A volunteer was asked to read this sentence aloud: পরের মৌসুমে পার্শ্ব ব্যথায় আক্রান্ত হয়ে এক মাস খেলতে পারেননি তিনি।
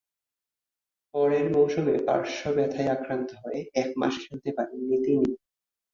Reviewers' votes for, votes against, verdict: 5, 1, accepted